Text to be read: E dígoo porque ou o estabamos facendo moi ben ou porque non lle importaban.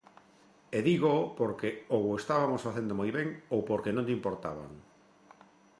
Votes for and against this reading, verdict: 0, 2, rejected